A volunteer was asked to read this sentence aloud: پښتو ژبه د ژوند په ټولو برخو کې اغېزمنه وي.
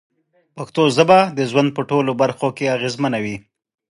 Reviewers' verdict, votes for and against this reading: accepted, 2, 0